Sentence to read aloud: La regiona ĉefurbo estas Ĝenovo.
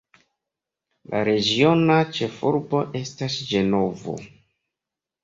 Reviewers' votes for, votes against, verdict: 2, 0, accepted